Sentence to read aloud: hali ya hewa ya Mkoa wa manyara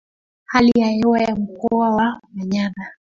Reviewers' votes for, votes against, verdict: 2, 0, accepted